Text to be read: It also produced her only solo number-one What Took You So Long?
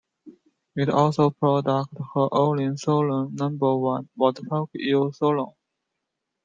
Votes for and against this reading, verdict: 0, 2, rejected